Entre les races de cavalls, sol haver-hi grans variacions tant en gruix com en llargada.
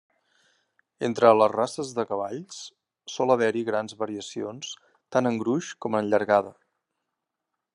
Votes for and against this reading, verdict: 2, 0, accepted